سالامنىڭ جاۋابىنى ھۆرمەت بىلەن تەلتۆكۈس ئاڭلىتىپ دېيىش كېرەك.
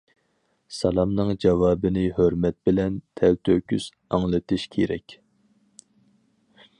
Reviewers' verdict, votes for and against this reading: rejected, 2, 4